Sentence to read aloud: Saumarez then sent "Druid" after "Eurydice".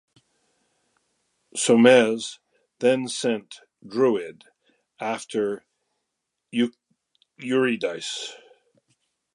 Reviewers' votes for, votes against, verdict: 0, 2, rejected